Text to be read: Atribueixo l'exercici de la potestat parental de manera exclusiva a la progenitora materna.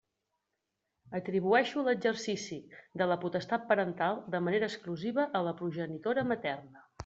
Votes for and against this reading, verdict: 3, 0, accepted